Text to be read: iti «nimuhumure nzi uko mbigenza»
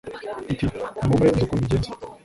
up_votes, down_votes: 2, 0